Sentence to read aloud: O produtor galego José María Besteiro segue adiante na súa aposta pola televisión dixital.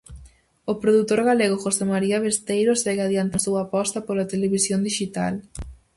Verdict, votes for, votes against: rejected, 0, 4